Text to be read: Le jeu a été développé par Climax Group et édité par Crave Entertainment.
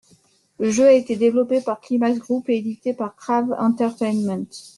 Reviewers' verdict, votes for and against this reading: rejected, 1, 2